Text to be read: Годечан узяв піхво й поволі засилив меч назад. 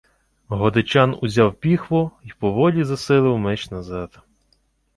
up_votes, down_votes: 2, 0